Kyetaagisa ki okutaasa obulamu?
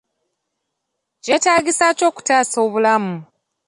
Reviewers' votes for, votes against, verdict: 2, 0, accepted